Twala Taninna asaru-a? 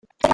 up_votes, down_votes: 1, 2